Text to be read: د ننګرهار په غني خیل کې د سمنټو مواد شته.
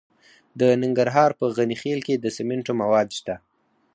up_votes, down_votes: 2, 4